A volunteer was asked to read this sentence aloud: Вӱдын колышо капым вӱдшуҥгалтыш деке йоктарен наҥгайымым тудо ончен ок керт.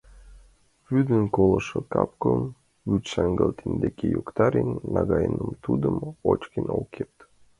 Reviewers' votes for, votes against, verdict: 0, 2, rejected